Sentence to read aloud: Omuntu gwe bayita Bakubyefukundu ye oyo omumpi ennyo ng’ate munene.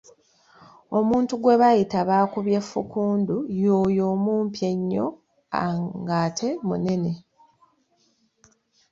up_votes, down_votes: 2, 0